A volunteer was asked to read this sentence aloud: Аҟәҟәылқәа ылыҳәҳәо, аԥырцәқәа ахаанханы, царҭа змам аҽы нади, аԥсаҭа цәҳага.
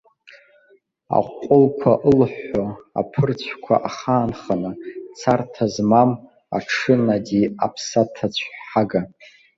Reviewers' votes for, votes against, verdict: 2, 0, accepted